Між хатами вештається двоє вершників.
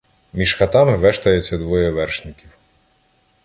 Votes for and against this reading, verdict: 0, 2, rejected